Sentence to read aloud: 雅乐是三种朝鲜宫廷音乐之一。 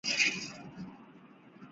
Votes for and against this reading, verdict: 2, 4, rejected